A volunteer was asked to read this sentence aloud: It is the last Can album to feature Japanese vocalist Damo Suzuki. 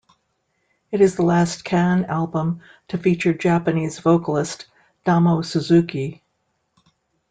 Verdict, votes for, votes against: accepted, 2, 0